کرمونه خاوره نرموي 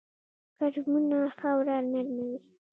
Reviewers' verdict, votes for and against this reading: accepted, 2, 0